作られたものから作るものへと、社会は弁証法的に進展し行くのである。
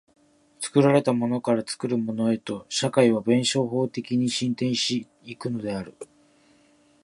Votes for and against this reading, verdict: 2, 0, accepted